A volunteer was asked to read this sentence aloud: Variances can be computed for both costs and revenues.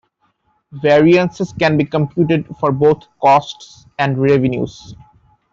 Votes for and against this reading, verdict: 2, 1, accepted